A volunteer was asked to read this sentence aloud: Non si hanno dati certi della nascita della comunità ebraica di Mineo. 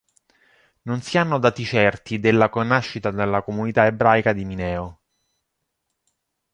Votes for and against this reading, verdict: 0, 2, rejected